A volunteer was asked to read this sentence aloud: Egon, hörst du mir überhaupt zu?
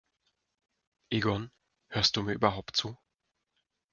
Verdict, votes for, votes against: accepted, 2, 0